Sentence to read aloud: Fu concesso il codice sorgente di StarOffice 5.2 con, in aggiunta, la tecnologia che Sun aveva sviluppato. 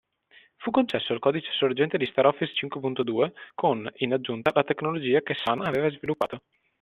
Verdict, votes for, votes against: rejected, 0, 2